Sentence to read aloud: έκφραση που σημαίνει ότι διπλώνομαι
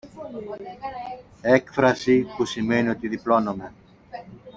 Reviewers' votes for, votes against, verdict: 2, 0, accepted